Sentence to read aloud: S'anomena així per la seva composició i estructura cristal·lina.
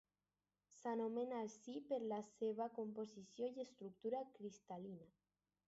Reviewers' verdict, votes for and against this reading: accepted, 4, 2